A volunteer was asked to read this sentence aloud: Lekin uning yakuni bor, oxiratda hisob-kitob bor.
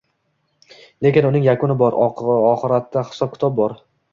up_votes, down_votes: 1, 2